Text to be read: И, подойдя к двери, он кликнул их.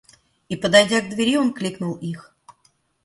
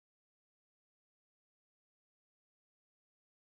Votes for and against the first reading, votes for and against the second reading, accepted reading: 2, 0, 0, 14, first